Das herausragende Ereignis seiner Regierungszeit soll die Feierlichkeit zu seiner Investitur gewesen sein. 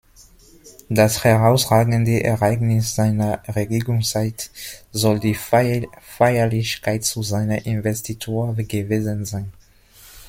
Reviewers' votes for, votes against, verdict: 1, 2, rejected